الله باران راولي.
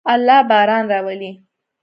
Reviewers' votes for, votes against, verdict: 2, 0, accepted